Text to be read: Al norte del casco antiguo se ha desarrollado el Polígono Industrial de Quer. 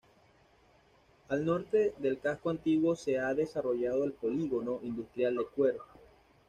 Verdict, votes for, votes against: accepted, 2, 0